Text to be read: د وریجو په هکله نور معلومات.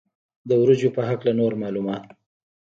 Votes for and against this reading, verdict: 1, 2, rejected